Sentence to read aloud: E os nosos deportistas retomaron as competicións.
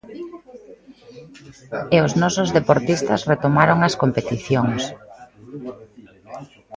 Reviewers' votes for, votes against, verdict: 2, 0, accepted